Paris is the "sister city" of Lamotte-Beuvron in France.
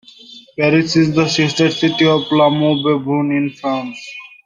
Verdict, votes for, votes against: rejected, 1, 2